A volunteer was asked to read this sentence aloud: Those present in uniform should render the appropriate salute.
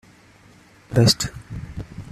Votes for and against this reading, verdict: 0, 2, rejected